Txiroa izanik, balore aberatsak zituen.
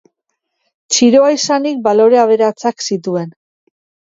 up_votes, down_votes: 3, 0